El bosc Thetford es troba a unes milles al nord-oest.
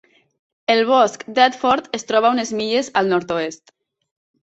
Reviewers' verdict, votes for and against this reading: accepted, 2, 0